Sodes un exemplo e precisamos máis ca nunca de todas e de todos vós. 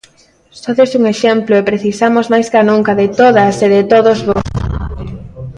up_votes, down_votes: 0, 2